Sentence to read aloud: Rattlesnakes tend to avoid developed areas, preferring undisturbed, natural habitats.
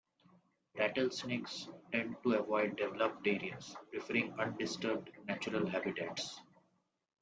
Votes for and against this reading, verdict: 2, 0, accepted